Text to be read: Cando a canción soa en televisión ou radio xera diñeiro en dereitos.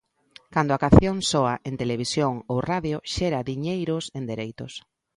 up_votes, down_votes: 0, 2